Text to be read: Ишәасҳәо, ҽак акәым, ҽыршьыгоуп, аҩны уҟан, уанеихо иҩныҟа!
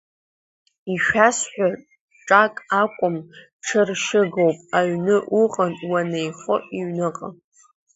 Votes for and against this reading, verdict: 0, 2, rejected